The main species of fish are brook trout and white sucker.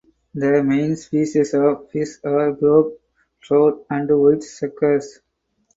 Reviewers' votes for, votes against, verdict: 2, 4, rejected